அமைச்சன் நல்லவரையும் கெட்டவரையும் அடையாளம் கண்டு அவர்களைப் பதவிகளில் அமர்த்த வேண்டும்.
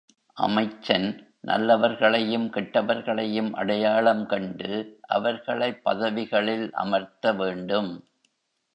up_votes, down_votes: 0, 2